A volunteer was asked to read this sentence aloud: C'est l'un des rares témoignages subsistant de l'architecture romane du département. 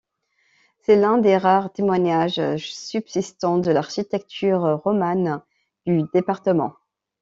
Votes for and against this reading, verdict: 0, 2, rejected